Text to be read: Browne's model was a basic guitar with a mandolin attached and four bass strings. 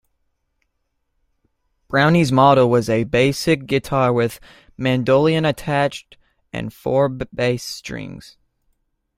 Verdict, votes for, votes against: rejected, 0, 2